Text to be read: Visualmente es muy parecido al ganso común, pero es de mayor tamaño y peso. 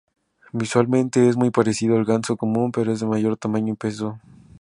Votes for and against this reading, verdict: 4, 0, accepted